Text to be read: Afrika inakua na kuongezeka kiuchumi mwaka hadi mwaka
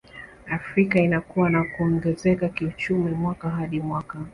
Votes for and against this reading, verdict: 2, 1, accepted